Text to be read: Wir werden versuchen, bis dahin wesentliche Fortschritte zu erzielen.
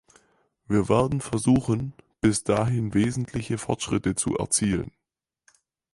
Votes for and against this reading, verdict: 4, 0, accepted